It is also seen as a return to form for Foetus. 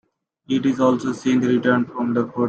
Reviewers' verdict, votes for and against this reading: rejected, 0, 2